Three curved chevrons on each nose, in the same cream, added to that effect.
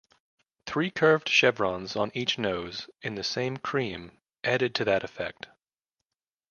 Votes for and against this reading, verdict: 2, 0, accepted